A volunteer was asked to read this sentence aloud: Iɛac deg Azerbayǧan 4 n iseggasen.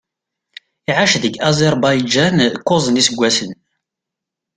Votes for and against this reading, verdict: 0, 2, rejected